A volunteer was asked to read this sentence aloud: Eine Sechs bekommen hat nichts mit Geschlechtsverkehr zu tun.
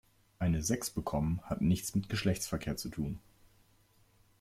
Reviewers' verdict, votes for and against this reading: accepted, 2, 0